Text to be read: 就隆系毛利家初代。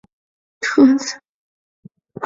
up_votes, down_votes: 0, 4